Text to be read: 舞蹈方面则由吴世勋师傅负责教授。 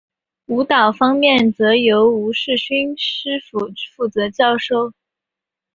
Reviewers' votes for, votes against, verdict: 3, 0, accepted